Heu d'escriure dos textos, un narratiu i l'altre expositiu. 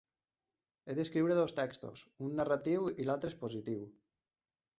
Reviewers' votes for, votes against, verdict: 0, 2, rejected